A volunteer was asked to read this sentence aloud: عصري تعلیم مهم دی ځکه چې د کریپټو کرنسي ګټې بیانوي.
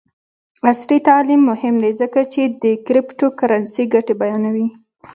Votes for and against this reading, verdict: 2, 0, accepted